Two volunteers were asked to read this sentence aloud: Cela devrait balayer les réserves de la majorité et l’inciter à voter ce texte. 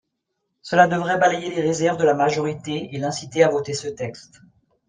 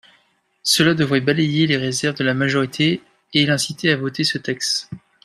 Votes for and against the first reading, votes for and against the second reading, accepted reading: 3, 0, 1, 2, first